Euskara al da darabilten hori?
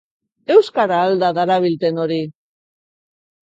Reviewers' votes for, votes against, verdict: 2, 0, accepted